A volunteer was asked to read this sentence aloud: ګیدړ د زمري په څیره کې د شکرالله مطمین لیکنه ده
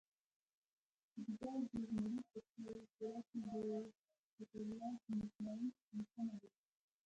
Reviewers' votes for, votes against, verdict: 1, 2, rejected